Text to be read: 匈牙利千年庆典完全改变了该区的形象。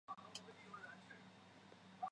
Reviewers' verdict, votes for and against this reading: rejected, 0, 2